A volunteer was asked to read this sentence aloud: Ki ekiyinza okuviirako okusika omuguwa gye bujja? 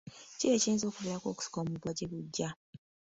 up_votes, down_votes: 2, 1